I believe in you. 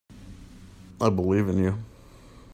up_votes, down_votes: 2, 0